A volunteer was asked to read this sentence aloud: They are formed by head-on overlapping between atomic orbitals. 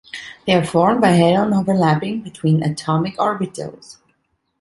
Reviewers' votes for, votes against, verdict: 2, 0, accepted